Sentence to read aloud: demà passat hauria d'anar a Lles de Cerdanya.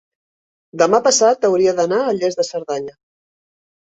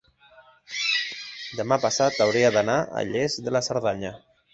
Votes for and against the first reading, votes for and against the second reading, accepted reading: 3, 0, 0, 2, first